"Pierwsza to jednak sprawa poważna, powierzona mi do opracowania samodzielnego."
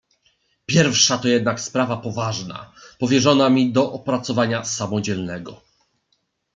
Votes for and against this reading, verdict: 2, 0, accepted